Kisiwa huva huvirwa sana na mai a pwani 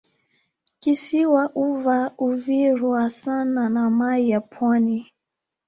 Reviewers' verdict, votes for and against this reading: rejected, 1, 2